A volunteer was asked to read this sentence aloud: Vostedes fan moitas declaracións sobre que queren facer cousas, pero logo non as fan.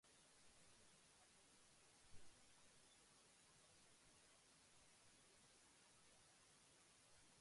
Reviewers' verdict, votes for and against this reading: rejected, 0, 2